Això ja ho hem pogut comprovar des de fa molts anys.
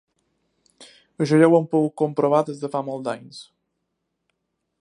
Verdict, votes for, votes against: rejected, 0, 2